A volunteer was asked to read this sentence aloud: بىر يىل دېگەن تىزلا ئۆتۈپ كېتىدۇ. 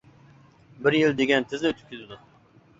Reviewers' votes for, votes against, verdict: 2, 0, accepted